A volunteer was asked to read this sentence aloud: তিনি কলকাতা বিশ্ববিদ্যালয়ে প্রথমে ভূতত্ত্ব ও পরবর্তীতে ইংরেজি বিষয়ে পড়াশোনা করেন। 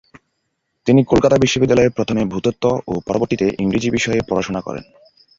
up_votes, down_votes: 1, 2